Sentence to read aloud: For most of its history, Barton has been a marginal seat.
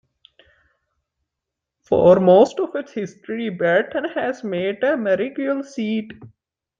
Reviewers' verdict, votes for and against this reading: rejected, 0, 2